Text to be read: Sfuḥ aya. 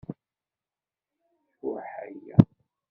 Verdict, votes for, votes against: rejected, 1, 2